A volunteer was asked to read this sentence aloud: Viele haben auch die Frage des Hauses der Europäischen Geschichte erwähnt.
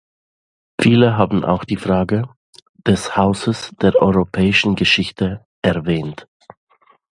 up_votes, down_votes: 2, 0